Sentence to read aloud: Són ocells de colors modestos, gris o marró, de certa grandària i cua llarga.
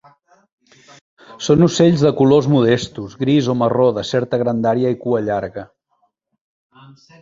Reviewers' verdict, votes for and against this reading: rejected, 1, 2